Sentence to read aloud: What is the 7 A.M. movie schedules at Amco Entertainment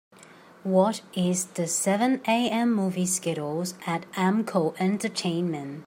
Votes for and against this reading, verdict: 0, 2, rejected